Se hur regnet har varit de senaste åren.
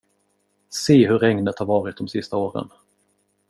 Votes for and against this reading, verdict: 0, 2, rejected